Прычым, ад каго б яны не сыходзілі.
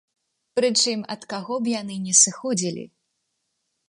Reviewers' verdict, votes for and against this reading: accepted, 2, 0